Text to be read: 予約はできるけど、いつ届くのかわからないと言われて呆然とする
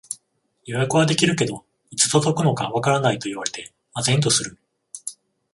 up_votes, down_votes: 0, 14